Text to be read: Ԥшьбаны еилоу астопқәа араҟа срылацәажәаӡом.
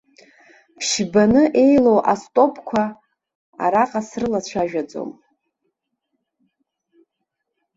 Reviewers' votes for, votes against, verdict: 2, 0, accepted